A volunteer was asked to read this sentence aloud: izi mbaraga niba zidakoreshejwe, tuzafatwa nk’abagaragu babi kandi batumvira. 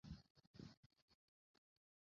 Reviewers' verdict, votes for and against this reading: rejected, 0, 2